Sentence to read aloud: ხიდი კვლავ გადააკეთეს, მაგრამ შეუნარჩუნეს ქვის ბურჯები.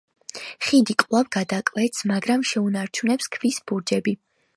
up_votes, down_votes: 0, 5